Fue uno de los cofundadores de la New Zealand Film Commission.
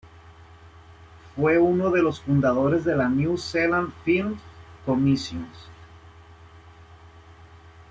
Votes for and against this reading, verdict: 0, 2, rejected